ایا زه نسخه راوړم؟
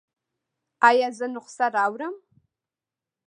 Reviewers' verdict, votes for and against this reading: rejected, 1, 2